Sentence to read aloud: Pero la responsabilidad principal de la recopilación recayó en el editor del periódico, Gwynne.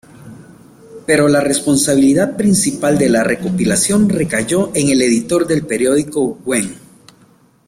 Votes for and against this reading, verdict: 1, 2, rejected